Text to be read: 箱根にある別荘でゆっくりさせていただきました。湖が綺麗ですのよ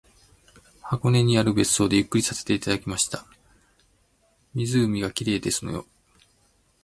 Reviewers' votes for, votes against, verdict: 2, 1, accepted